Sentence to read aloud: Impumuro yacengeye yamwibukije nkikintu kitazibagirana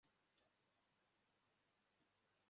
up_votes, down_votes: 1, 2